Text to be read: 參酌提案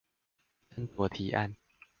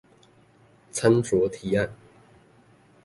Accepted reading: second